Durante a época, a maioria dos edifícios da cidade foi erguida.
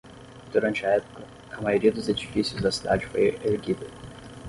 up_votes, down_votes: 3, 6